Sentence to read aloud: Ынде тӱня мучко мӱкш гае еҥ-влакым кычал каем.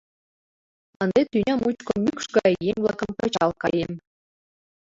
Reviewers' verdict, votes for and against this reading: rejected, 1, 2